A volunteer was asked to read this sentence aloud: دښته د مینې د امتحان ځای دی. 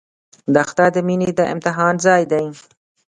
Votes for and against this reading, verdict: 1, 2, rejected